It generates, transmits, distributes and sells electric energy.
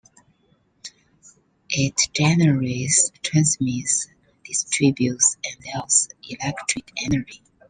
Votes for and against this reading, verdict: 0, 2, rejected